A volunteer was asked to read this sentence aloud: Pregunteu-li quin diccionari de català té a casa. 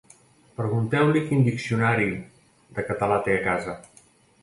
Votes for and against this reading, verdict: 2, 0, accepted